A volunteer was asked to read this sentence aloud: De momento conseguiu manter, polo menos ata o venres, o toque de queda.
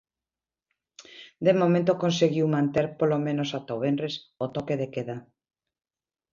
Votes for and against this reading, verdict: 0, 2, rejected